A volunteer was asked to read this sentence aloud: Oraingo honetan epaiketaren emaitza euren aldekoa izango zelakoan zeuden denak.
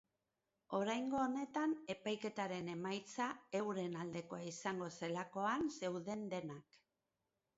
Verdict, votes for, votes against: accepted, 2, 0